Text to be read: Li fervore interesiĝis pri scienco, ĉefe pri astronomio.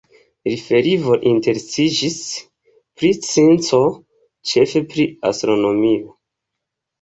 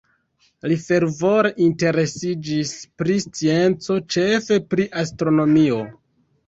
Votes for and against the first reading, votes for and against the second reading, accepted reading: 1, 2, 2, 0, second